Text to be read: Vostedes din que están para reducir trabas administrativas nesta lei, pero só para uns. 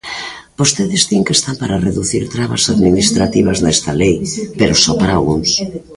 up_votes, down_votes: 0, 2